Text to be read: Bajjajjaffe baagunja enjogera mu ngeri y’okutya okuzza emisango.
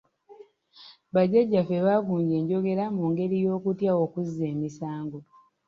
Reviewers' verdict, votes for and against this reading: accepted, 2, 0